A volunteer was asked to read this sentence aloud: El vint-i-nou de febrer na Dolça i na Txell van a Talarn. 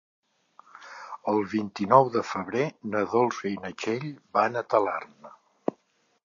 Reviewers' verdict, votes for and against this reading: accepted, 3, 0